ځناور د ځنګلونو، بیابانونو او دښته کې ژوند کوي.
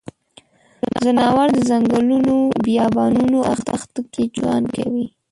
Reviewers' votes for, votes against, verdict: 1, 2, rejected